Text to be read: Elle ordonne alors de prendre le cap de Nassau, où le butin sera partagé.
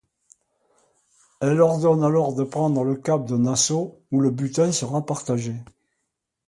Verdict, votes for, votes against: accepted, 2, 0